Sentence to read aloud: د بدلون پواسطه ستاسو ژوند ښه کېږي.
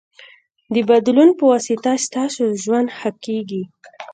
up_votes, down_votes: 2, 0